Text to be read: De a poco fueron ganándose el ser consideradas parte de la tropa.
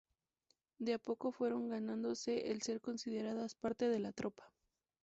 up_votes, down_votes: 0, 2